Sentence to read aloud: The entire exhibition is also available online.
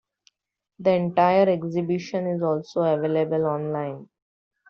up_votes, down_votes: 2, 0